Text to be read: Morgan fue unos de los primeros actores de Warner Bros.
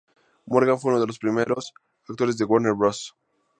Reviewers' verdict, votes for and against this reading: accepted, 2, 0